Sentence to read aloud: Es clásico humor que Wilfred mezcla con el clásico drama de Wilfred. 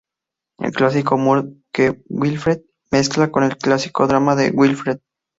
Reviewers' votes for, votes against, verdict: 0, 4, rejected